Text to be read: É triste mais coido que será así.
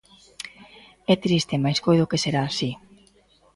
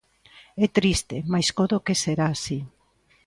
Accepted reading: first